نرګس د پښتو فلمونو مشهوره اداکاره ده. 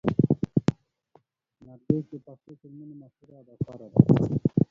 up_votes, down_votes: 0, 2